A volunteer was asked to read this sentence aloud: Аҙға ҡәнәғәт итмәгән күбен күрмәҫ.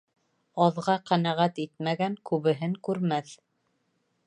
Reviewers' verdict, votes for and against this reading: rejected, 1, 2